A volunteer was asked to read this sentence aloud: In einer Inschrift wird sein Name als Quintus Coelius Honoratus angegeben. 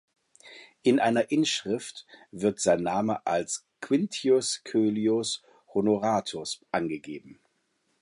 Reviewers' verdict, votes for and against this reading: rejected, 0, 2